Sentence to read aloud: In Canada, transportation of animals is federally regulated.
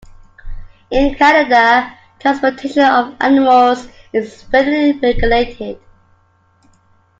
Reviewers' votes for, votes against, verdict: 2, 0, accepted